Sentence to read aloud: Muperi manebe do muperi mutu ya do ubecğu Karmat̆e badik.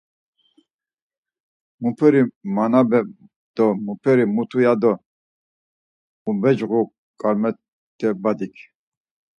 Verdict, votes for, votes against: accepted, 4, 0